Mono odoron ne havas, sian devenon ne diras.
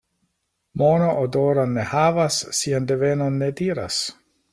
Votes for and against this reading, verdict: 2, 0, accepted